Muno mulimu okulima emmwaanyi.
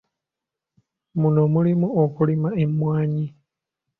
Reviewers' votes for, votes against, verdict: 2, 0, accepted